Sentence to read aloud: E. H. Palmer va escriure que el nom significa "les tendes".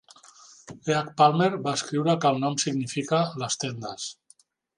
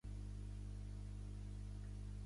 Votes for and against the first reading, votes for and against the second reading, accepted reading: 2, 0, 1, 2, first